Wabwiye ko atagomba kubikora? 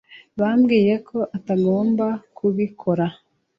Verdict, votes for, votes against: rejected, 0, 2